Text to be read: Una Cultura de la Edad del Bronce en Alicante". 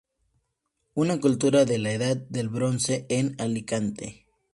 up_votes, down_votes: 2, 0